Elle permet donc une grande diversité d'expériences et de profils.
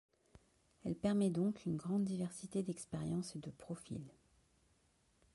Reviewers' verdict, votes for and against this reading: accepted, 2, 0